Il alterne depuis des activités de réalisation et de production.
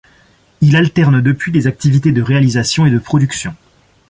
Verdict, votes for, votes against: accepted, 2, 0